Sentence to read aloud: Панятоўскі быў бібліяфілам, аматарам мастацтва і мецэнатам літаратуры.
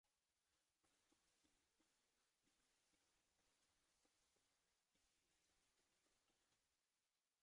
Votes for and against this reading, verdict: 0, 2, rejected